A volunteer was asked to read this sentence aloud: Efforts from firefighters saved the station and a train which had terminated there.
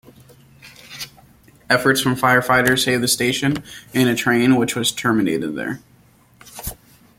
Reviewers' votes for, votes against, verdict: 0, 2, rejected